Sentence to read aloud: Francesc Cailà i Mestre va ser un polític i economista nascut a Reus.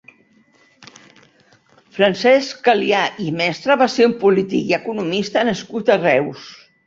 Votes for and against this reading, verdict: 2, 3, rejected